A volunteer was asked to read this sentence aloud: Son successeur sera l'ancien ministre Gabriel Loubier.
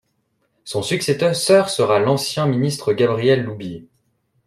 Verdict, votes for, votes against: rejected, 0, 2